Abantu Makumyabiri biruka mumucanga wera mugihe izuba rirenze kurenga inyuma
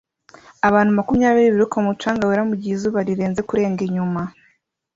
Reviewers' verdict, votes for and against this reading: accepted, 2, 0